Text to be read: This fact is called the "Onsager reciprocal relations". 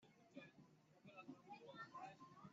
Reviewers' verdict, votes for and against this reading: rejected, 0, 2